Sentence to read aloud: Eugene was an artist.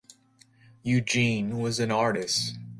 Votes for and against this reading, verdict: 2, 0, accepted